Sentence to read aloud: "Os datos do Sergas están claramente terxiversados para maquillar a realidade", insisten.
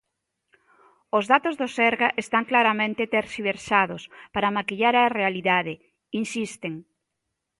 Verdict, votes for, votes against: rejected, 0, 2